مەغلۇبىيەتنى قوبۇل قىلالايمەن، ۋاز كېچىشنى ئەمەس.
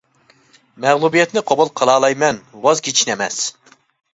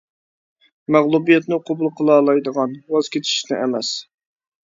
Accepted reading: first